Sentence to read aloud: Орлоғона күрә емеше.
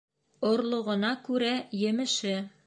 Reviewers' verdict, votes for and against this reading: accepted, 2, 0